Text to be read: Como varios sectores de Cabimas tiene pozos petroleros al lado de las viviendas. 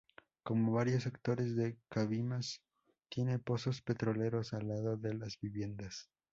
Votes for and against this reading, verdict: 4, 0, accepted